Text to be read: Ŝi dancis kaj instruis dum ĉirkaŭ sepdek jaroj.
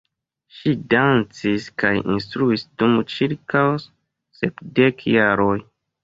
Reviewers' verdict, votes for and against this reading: accepted, 2, 0